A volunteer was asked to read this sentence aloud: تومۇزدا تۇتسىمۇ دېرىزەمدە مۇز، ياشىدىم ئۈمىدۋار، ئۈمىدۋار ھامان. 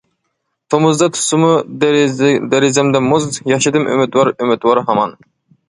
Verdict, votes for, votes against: accepted, 2, 1